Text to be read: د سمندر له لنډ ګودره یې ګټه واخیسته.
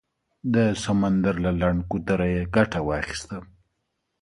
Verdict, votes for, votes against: accepted, 2, 0